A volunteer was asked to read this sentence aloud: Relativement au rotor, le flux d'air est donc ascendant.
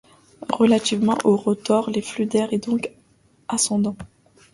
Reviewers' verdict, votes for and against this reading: rejected, 0, 2